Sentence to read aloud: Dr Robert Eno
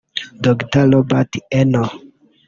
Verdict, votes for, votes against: rejected, 1, 2